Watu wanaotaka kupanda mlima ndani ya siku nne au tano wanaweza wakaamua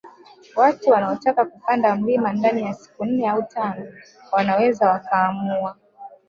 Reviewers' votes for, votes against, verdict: 1, 3, rejected